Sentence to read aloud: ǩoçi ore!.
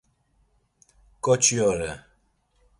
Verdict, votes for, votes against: accepted, 2, 0